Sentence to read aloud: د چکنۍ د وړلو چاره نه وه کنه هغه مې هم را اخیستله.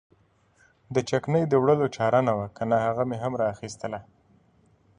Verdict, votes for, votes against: accepted, 2, 0